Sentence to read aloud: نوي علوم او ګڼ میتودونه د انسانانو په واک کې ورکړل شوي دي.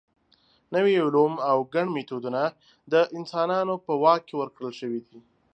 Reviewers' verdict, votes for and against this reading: accepted, 2, 0